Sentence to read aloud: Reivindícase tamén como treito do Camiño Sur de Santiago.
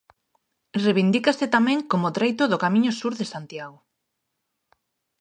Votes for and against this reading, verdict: 2, 0, accepted